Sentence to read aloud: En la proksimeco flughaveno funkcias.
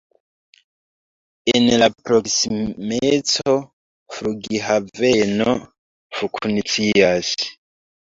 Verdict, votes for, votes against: rejected, 1, 2